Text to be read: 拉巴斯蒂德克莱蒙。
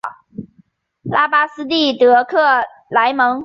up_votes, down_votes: 4, 0